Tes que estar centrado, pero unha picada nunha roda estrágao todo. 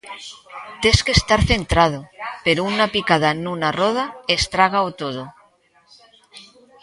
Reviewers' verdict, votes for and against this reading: rejected, 1, 2